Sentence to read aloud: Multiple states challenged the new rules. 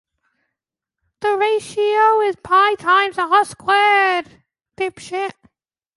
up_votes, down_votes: 0, 2